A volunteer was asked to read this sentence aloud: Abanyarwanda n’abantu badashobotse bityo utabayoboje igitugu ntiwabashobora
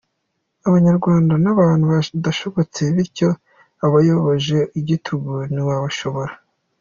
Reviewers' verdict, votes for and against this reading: accepted, 3, 0